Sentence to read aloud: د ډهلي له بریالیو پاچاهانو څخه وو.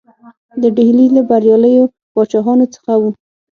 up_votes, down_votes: 6, 0